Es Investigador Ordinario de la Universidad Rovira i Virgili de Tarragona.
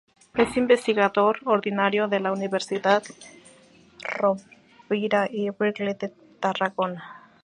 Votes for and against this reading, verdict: 2, 0, accepted